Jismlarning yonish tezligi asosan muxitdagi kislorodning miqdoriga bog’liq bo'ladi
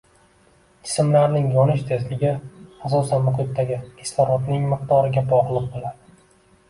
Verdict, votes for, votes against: accepted, 2, 0